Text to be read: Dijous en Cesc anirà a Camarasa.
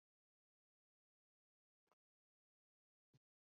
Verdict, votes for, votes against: rejected, 1, 2